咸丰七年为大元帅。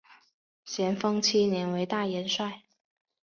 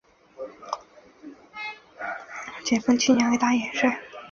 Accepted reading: first